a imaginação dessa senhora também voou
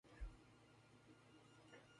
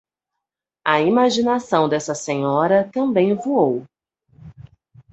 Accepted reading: second